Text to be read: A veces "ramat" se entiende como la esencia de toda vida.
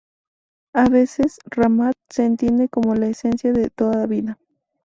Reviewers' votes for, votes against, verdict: 4, 0, accepted